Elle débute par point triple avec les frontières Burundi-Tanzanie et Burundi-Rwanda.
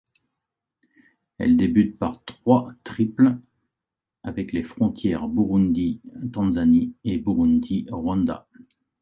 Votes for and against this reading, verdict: 1, 2, rejected